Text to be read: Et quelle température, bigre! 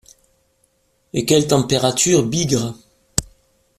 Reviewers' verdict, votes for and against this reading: accepted, 2, 0